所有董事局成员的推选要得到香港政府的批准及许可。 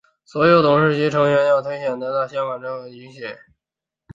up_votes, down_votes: 0, 2